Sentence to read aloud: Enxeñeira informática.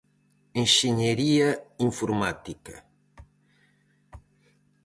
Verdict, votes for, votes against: rejected, 0, 4